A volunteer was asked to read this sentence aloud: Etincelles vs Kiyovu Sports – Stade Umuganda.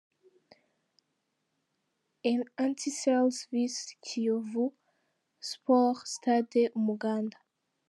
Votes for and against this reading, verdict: 0, 2, rejected